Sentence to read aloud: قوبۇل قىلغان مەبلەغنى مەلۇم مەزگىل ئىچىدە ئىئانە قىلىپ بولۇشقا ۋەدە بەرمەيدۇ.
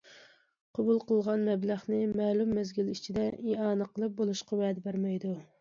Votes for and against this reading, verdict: 2, 0, accepted